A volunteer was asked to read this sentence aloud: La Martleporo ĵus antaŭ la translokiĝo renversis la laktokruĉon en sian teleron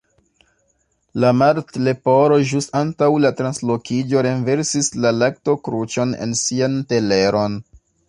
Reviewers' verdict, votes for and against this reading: accepted, 2, 0